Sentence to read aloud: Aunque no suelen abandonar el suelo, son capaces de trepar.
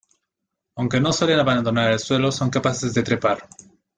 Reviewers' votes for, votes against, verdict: 1, 2, rejected